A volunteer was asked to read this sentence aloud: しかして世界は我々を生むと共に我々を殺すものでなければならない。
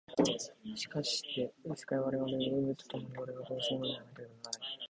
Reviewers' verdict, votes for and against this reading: rejected, 1, 2